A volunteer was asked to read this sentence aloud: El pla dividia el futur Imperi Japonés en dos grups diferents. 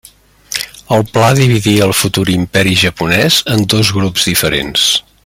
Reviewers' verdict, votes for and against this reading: accepted, 2, 0